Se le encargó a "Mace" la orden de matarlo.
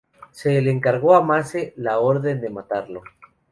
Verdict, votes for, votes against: accepted, 2, 0